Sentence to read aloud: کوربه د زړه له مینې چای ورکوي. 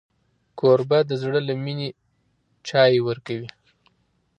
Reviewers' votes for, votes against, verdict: 2, 0, accepted